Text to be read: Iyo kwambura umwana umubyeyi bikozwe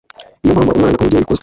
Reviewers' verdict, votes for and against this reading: rejected, 0, 2